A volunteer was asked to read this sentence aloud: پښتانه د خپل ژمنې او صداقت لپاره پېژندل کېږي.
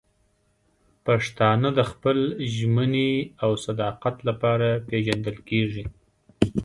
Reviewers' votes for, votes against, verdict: 2, 0, accepted